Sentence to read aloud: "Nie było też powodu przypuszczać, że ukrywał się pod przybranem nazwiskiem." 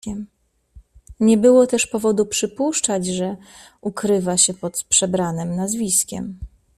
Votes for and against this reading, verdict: 0, 2, rejected